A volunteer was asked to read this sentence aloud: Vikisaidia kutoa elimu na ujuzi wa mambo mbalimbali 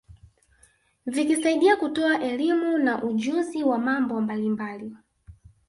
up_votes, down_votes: 0, 2